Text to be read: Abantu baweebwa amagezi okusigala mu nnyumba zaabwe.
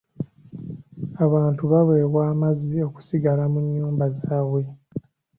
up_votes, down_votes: 1, 2